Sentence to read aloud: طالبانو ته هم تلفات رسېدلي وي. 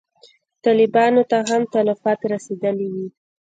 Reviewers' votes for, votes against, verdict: 1, 2, rejected